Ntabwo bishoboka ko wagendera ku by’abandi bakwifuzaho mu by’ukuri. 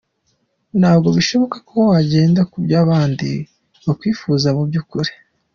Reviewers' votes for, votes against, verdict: 2, 1, accepted